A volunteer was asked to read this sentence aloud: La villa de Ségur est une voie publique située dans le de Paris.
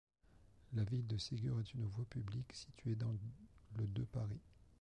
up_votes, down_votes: 0, 2